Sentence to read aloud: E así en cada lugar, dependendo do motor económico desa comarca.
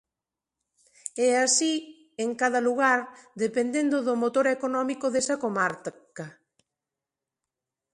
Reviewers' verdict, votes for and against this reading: rejected, 0, 2